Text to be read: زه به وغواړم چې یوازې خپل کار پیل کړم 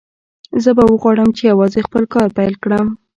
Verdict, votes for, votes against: accepted, 2, 0